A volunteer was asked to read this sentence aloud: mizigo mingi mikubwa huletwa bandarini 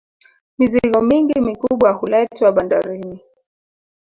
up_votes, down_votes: 3, 1